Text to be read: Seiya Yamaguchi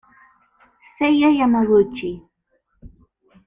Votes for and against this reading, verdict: 2, 0, accepted